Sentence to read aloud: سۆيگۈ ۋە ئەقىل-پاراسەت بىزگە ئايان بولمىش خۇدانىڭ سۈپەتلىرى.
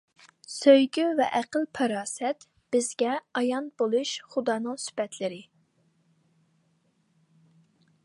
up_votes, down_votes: 0, 2